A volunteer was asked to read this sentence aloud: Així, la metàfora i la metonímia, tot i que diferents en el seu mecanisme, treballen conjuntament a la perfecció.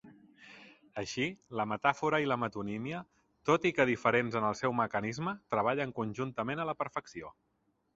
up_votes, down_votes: 3, 0